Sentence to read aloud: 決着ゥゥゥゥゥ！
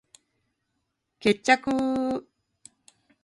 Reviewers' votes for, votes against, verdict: 0, 2, rejected